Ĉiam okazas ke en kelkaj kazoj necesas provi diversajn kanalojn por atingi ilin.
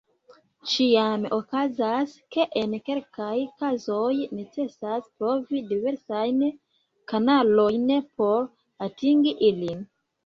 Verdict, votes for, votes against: rejected, 0, 2